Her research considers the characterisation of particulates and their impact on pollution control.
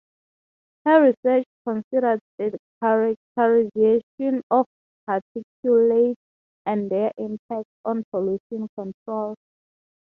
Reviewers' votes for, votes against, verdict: 3, 3, rejected